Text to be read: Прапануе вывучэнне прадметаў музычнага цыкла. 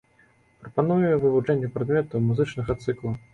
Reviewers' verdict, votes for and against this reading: accepted, 2, 0